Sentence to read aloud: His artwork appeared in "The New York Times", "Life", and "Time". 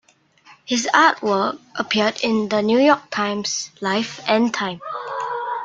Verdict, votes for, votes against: accepted, 2, 0